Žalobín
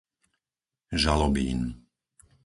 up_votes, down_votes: 4, 0